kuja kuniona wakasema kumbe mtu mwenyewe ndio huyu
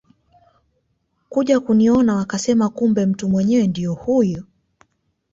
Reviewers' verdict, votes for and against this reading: accepted, 2, 0